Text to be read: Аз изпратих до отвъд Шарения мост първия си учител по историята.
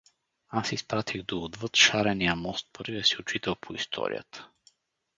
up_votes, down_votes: 2, 0